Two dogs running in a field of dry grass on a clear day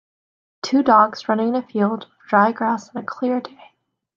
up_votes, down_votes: 2, 1